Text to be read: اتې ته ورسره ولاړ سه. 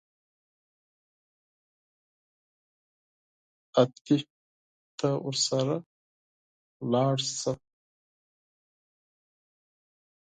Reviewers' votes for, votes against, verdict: 2, 4, rejected